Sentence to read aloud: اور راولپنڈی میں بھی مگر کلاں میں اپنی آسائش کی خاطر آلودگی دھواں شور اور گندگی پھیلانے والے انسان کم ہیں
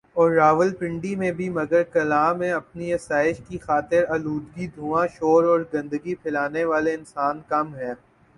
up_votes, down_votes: 2, 1